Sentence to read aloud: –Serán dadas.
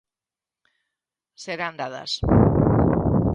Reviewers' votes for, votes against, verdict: 2, 0, accepted